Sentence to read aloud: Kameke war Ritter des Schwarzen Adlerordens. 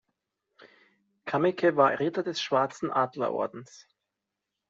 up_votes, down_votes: 2, 0